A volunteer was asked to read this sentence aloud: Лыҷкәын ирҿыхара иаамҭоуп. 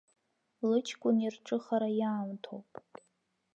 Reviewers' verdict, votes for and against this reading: rejected, 1, 2